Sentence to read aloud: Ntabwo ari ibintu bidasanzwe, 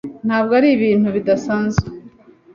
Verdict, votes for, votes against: accepted, 2, 0